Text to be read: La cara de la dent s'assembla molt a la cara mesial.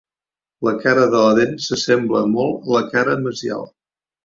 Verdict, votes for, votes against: rejected, 0, 3